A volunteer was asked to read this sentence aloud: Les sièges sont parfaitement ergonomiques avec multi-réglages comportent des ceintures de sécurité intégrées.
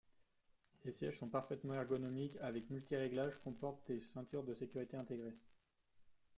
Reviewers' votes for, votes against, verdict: 2, 0, accepted